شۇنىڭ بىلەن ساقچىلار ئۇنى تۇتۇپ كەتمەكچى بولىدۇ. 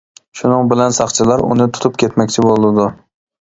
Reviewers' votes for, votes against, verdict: 2, 0, accepted